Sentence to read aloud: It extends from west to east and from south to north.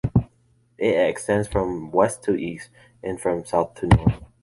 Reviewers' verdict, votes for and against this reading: accepted, 2, 1